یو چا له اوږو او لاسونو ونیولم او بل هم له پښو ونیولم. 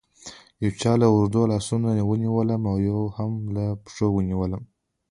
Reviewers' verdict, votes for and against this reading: rejected, 0, 2